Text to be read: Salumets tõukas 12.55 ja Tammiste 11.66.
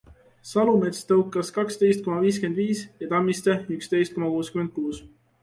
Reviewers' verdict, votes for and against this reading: rejected, 0, 2